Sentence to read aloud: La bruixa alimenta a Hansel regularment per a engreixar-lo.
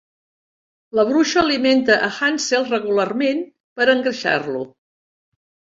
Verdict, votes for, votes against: accepted, 2, 0